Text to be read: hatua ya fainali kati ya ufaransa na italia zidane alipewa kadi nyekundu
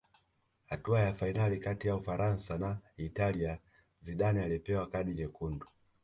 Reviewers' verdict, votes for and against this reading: accepted, 2, 0